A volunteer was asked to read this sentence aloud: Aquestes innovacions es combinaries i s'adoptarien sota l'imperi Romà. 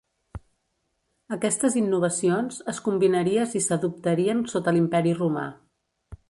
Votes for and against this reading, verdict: 3, 2, accepted